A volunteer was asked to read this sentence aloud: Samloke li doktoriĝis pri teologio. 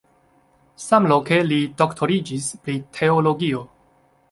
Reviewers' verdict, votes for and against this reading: accepted, 2, 0